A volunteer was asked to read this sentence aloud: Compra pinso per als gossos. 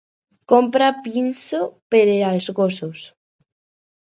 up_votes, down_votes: 0, 4